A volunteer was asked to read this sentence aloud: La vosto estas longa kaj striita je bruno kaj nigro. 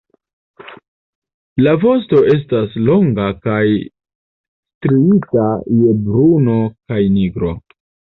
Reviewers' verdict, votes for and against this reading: rejected, 0, 3